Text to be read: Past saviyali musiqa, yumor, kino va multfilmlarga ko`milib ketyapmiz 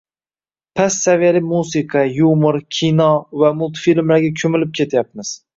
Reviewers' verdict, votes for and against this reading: rejected, 1, 2